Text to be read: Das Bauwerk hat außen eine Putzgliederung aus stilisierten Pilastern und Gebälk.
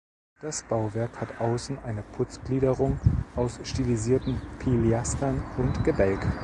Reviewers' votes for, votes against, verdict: 1, 2, rejected